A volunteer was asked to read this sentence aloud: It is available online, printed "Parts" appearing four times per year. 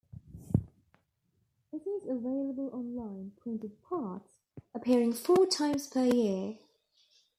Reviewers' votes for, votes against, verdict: 0, 2, rejected